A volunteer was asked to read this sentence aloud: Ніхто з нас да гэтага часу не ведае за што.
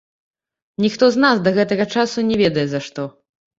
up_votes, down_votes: 1, 2